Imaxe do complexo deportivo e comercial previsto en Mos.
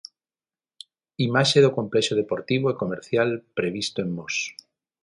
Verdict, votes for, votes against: accepted, 6, 0